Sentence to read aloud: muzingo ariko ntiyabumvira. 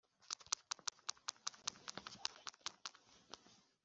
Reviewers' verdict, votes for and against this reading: rejected, 0, 2